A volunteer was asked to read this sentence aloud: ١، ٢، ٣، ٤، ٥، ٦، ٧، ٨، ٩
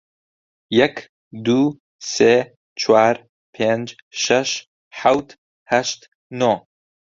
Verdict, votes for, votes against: rejected, 0, 2